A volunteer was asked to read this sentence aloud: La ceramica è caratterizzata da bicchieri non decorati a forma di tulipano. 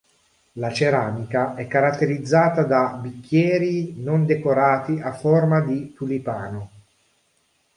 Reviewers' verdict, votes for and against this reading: accepted, 3, 0